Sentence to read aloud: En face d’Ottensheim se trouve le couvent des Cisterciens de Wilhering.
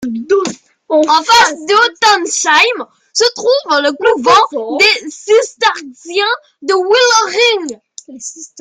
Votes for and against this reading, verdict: 0, 2, rejected